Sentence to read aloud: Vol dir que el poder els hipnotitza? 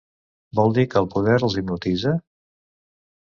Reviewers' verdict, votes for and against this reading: rejected, 0, 2